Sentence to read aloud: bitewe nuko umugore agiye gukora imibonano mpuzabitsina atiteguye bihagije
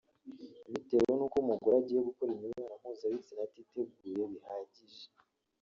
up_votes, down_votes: 1, 2